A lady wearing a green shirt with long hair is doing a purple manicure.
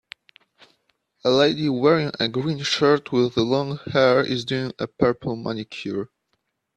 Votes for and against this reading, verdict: 2, 0, accepted